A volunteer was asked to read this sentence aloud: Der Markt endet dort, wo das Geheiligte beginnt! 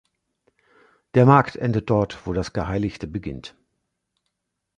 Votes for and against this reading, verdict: 3, 0, accepted